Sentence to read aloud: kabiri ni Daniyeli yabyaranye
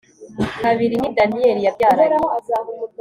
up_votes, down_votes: 2, 0